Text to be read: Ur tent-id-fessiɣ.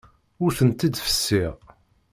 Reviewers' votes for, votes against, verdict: 2, 0, accepted